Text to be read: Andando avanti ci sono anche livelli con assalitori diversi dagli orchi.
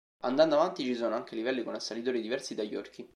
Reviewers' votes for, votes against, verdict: 2, 0, accepted